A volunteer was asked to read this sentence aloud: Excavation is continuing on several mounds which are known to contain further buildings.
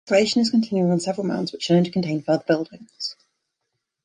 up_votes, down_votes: 1, 2